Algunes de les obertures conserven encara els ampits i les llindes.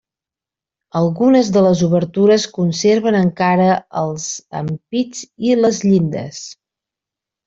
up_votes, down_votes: 4, 0